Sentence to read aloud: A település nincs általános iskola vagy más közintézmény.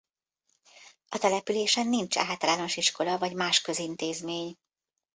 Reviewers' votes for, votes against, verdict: 0, 2, rejected